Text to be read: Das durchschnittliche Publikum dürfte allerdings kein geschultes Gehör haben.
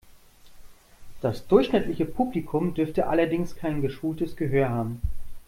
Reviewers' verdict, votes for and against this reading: accepted, 2, 0